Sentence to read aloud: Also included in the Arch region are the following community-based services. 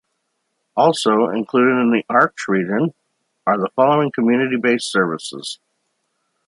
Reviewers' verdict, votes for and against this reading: accepted, 2, 0